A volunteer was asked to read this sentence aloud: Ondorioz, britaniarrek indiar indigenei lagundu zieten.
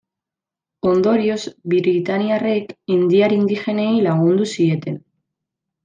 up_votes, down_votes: 0, 2